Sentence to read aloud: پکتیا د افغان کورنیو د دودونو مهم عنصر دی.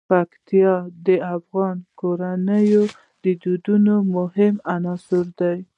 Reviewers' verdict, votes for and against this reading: accepted, 2, 0